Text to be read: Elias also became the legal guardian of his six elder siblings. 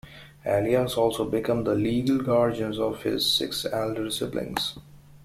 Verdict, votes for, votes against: accepted, 2, 1